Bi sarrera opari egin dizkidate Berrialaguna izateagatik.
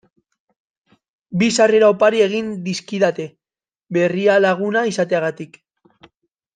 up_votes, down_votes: 2, 0